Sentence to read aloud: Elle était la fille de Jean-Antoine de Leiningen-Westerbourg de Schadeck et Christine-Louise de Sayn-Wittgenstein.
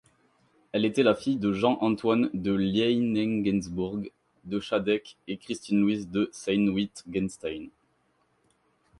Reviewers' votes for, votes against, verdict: 0, 4, rejected